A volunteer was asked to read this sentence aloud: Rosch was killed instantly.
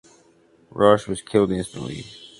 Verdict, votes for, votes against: accepted, 2, 0